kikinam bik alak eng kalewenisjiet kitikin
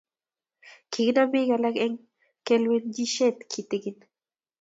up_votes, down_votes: 2, 0